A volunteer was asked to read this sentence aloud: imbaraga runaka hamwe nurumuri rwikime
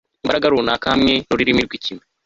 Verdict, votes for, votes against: accepted, 2, 0